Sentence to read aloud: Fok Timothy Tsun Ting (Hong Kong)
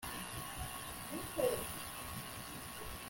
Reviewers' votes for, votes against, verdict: 0, 2, rejected